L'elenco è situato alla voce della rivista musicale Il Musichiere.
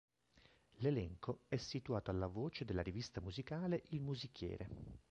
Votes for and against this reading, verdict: 2, 0, accepted